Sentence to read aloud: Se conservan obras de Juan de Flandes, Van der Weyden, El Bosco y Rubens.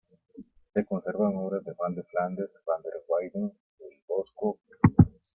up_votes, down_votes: 0, 2